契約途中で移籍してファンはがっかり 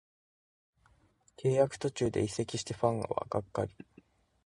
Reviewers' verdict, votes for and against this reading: accepted, 2, 0